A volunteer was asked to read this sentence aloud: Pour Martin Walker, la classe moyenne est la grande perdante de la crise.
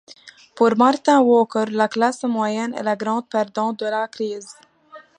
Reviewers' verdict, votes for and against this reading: accepted, 2, 1